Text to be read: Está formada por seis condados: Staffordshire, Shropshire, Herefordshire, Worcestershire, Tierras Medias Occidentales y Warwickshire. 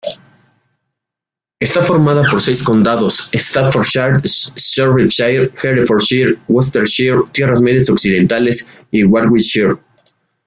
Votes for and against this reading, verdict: 1, 2, rejected